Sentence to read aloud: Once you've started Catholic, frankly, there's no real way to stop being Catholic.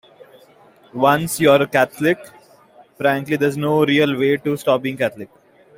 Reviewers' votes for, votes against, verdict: 2, 1, accepted